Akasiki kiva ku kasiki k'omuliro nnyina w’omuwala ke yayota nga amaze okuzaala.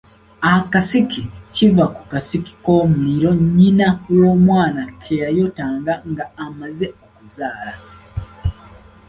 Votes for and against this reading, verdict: 0, 2, rejected